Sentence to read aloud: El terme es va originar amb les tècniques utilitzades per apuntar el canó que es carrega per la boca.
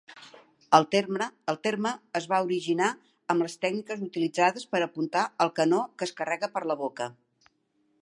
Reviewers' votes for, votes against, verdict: 1, 2, rejected